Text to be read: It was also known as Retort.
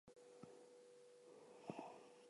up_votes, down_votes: 0, 4